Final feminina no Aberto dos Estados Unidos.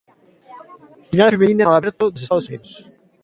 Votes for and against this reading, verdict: 0, 2, rejected